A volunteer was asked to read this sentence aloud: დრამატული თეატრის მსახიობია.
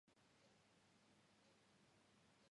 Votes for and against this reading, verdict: 1, 2, rejected